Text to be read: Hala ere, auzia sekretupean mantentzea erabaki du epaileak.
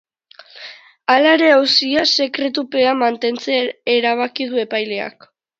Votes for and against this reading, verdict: 3, 0, accepted